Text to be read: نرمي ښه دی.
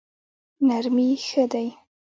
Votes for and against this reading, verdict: 2, 1, accepted